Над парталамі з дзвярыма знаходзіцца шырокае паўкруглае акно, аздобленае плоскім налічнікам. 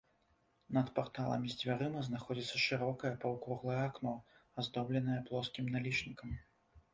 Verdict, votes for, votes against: accepted, 2, 0